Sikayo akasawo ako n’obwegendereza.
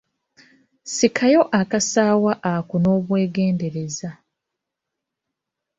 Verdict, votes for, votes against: rejected, 1, 2